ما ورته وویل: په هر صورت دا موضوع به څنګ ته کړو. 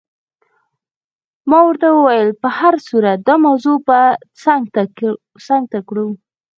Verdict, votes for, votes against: rejected, 2, 4